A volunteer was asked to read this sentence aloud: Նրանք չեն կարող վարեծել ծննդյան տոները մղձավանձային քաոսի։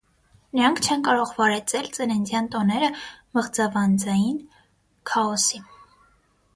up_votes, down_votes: 6, 0